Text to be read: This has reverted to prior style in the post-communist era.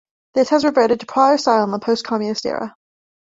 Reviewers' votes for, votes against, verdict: 2, 1, accepted